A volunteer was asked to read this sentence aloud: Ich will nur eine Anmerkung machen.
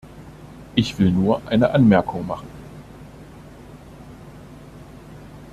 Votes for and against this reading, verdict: 2, 0, accepted